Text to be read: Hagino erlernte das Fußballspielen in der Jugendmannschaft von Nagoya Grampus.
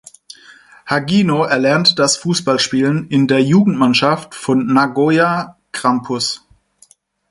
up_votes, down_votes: 4, 0